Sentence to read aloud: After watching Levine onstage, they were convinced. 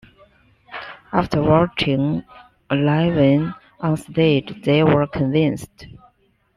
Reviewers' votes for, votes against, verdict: 2, 0, accepted